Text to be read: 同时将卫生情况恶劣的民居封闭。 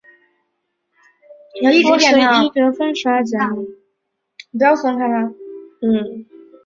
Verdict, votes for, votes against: rejected, 0, 2